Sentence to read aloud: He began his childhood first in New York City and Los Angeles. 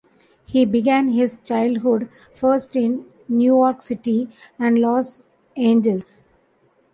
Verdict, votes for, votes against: rejected, 1, 2